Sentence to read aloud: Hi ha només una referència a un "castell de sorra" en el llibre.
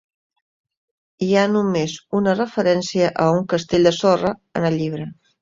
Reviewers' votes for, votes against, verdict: 4, 0, accepted